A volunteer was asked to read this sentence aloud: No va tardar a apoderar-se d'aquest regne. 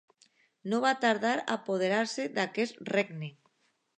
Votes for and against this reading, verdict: 3, 0, accepted